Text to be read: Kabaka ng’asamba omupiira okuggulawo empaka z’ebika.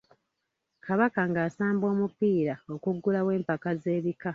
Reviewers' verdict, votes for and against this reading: rejected, 1, 2